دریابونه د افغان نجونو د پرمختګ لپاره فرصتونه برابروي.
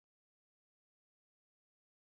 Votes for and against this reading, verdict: 1, 2, rejected